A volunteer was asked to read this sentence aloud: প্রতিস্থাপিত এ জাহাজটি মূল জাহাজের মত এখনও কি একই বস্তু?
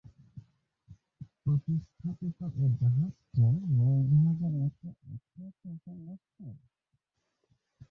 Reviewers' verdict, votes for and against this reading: rejected, 0, 3